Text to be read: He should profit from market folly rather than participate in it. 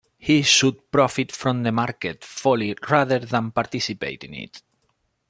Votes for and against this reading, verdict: 0, 2, rejected